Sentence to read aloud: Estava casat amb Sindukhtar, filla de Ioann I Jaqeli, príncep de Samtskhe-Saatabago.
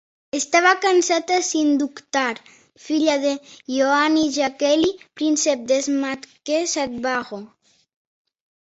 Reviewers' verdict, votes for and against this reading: rejected, 0, 2